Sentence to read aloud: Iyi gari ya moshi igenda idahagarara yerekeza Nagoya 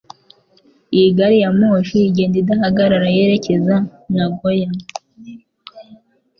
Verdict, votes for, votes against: accepted, 3, 0